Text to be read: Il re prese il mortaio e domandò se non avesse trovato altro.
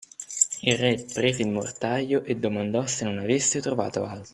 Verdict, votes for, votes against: rejected, 0, 3